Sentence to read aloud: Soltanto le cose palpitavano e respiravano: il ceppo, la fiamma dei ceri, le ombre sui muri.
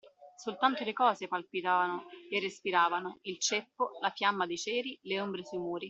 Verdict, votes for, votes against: accepted, 2, 0